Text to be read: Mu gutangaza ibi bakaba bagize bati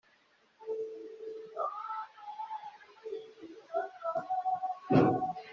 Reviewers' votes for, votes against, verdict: 1, 2, rejected